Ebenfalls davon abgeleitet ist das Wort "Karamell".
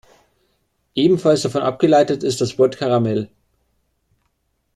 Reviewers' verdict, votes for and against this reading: accepted, 2, 0